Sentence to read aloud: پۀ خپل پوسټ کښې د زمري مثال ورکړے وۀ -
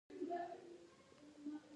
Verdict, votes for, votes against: rejected, 2, 4